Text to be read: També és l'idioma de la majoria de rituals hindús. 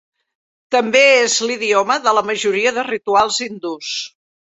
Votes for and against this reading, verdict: 3, 0, accepted